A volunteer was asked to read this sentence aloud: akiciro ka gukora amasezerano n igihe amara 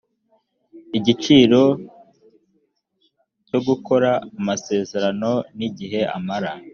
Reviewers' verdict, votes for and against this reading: rejected, 0, 2